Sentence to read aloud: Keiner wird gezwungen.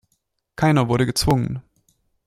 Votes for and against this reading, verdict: 0, 2, rejected